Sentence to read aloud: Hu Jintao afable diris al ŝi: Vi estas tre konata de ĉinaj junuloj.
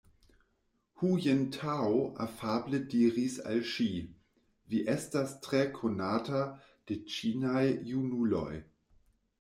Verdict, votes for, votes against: accepted, 2, 0